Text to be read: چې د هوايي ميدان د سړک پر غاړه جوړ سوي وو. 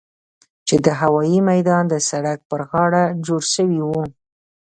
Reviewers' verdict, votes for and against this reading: accepted, 2, 1